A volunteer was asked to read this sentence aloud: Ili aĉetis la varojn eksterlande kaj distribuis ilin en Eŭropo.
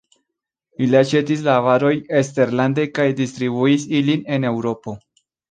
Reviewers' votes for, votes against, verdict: 2, 0, accepted